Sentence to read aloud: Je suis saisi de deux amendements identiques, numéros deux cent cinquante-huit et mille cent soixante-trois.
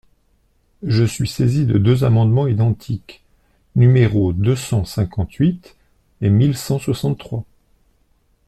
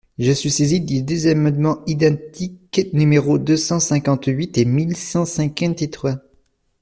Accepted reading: first